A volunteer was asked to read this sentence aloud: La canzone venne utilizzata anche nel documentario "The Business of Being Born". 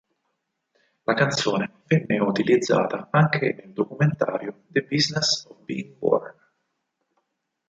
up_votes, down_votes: 2, 4